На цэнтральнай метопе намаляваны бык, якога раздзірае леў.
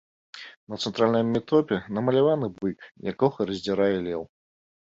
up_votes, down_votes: 2, 0